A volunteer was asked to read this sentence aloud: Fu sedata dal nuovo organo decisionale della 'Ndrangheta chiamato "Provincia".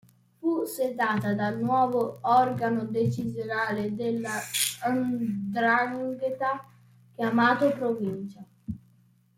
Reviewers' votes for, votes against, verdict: 1, 2, rejected